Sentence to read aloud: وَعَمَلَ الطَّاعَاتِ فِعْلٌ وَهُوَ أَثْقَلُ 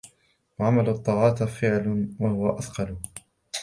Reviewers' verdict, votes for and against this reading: accepted, 2, 0